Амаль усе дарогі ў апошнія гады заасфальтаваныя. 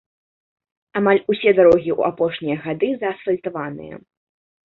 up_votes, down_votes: 2, 0